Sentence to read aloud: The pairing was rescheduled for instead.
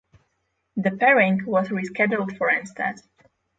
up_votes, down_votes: 6, 0